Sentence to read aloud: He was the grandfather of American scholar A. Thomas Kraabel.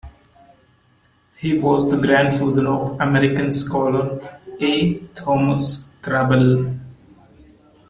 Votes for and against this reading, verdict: 2, 0, accepted